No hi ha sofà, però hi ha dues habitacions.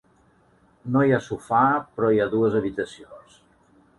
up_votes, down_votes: 3, 0